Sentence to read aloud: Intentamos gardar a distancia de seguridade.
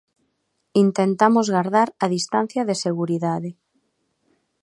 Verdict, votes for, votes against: accepted, 2, 0